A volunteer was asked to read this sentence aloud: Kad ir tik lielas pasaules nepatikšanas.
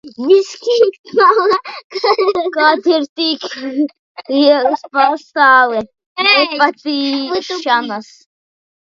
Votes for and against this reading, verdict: 0, 2, rejected